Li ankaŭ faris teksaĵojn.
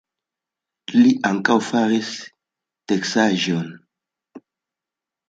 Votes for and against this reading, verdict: 2, 0, accepted